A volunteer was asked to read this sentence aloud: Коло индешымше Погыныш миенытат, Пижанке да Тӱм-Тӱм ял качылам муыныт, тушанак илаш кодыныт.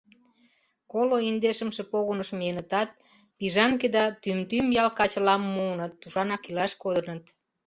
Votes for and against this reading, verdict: 2, 0, accepted